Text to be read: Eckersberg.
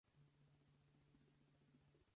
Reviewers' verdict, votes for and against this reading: rejected, 0, 4